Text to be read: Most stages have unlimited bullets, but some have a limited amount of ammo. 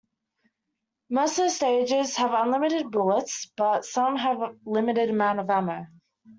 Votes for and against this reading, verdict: 0, 2, rejected